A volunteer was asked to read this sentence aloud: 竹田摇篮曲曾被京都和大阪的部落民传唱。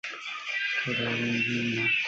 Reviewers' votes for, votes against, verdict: 0, 2, rejected